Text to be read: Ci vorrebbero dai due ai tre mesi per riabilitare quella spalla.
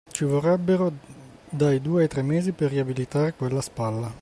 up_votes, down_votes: 2, 0